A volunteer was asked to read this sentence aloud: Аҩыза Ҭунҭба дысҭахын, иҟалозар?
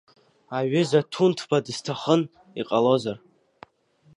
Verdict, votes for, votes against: accepted, 2, 0